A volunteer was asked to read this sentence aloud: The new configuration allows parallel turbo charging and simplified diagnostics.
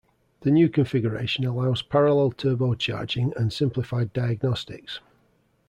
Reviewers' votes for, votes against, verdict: 2, 0, accepted